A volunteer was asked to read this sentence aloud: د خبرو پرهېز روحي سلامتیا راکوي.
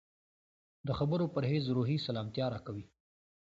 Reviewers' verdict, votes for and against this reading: accepted, 2, 0